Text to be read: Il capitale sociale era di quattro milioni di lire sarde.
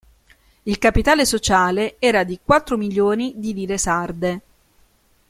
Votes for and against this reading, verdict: 2, 1, accepted